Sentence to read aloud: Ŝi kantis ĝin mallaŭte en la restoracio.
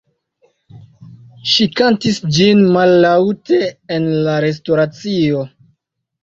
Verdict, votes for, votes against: accepted, 2, 0